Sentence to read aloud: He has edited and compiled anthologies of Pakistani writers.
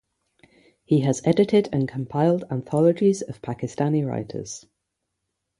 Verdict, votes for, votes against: accepted, 3, 0